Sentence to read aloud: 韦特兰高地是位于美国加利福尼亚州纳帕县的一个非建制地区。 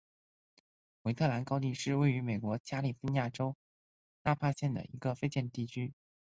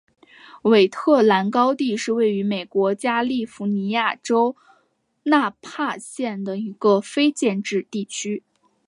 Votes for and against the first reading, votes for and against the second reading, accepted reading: 1, 2, 2, 0, second